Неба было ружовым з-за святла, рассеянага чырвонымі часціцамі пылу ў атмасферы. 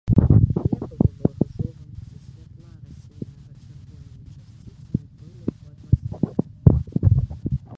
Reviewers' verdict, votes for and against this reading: rejected, 0, 2